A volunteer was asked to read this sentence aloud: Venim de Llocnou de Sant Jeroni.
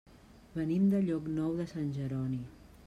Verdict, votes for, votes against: accepted, 2, 0